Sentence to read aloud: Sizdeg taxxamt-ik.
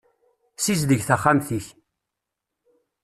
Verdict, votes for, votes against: accepted, 2, 0